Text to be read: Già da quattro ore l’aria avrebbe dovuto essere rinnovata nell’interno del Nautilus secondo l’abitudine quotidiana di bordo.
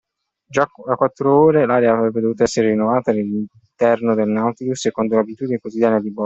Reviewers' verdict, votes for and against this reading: rejected, 0, 2